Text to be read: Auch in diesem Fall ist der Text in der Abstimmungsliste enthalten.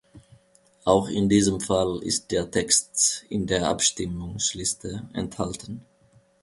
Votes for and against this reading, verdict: 3, 0, accepted